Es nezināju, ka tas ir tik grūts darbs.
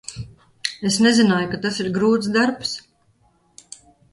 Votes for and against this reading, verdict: 2, 2, rejected